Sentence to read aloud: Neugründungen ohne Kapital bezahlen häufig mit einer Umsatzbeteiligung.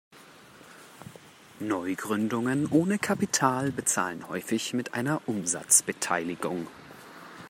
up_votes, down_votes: 2, 0